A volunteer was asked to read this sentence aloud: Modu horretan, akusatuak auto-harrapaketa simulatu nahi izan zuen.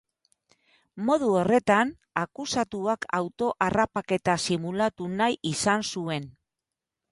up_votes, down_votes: 0, 2